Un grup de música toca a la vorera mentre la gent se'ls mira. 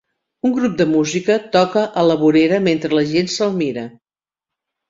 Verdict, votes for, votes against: rejected, 0, 2